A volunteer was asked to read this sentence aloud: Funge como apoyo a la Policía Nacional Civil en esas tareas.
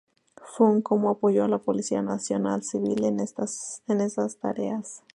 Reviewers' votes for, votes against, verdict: 0, 2, rejected